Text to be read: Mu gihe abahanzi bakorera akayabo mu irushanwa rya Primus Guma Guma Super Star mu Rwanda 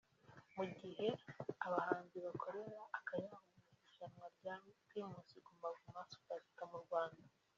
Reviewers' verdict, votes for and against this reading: accepted, 2, 0